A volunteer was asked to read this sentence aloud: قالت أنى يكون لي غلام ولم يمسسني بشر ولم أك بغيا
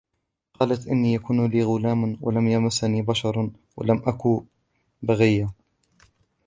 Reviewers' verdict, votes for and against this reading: rejected, 0, 2